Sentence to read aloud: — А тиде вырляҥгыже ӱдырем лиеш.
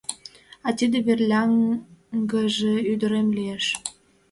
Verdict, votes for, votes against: rejected, 0, 2